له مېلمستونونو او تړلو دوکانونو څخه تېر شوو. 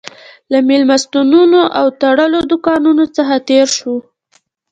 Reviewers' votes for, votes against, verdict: 2, 1, accepted